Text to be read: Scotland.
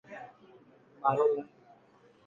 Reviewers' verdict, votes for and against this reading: rejected, 0, 2